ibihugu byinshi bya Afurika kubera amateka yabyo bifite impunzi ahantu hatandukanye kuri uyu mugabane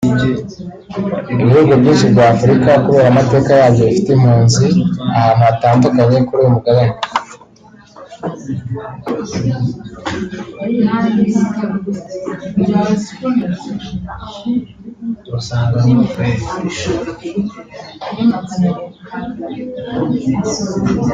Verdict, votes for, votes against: rejected, 1, 2